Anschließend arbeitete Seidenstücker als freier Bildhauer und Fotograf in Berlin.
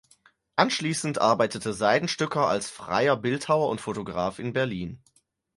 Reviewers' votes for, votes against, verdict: 4, 0, accepted